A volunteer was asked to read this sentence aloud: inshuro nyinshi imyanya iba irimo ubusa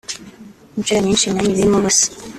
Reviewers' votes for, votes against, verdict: 1, 2, rejected